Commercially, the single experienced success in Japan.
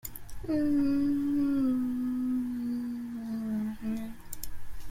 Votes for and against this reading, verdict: 0, 2, rejected